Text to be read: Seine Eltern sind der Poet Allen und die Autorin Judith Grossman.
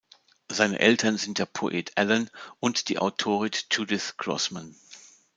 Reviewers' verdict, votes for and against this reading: rejected, 0, 2